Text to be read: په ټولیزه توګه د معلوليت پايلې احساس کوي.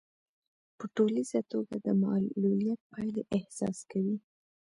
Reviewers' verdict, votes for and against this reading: accepted, 2, 0